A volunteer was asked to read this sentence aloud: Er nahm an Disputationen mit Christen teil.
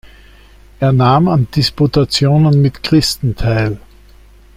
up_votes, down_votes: 2, 0